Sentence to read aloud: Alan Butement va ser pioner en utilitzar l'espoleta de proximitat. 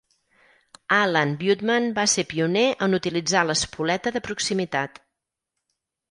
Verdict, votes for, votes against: accepted, 4, 0